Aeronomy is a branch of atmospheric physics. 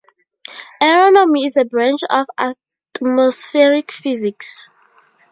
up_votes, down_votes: 0, 2